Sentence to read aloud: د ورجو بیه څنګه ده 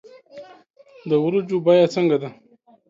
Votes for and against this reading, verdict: 1, 2, rejected